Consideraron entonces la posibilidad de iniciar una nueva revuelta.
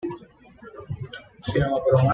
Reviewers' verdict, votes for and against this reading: rejected, 1, 2